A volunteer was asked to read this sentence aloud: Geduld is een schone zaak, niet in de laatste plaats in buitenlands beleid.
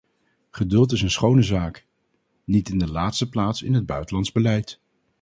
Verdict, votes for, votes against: rejected, 0, 2